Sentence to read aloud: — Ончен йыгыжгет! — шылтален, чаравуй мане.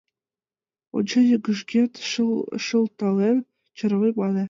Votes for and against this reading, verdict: 1, 5, rejected